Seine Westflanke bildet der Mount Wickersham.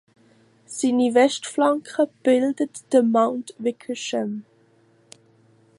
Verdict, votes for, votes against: rejected, 0, 2